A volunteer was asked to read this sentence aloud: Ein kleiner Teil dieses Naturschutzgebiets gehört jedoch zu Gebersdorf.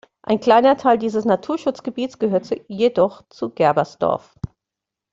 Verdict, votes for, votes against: rejected, 0, 2